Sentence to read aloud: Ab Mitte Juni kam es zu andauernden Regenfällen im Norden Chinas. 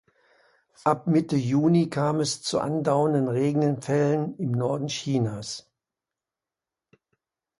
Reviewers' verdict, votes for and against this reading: rejected, 0, 2